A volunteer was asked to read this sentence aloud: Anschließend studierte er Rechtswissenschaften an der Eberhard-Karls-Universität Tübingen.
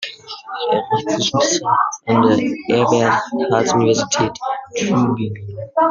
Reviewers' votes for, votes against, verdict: 0, 2, rejected